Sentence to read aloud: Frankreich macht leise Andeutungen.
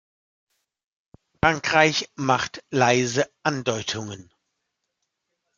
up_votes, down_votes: 2, 1